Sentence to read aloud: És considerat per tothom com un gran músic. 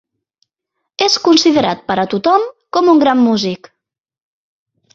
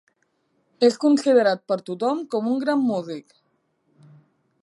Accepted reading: second